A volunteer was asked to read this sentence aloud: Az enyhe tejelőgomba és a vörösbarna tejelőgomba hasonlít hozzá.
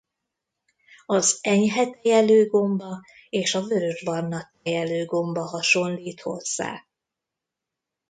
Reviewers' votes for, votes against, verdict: 1, 2, rejected